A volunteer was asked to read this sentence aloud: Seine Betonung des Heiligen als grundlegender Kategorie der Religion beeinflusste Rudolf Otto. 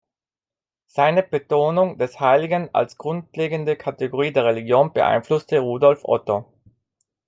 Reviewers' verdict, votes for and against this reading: rejected, 1, 2